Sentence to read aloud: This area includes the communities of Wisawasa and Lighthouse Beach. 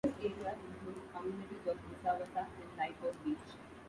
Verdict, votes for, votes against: rejected, 0, 2